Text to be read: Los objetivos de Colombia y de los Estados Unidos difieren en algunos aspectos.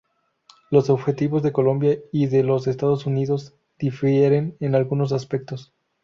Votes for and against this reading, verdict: 0, 2, rejected